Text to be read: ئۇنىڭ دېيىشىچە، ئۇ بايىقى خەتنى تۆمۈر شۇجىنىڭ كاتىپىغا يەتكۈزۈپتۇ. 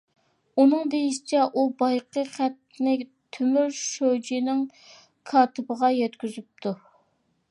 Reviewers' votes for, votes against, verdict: 2, 0, accepted